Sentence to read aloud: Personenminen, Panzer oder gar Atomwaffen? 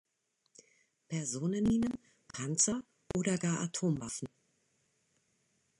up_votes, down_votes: 2, 0